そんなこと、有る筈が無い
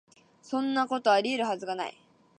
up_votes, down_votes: 2, 3